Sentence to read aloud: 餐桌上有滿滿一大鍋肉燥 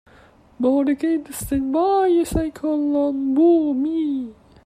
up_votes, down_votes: 0, 2